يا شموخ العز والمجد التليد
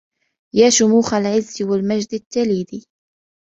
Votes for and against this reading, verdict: 3, 1, accepted